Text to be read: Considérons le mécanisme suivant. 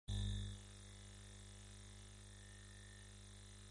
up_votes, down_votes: 0, 2